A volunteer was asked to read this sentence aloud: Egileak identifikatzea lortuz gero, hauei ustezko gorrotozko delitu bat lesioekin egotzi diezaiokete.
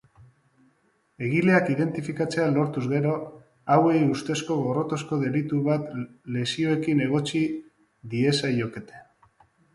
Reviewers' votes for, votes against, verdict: 3, 1, accepted